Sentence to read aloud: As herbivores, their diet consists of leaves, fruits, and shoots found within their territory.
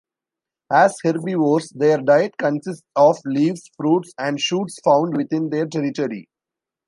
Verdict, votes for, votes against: accepted, 2, 0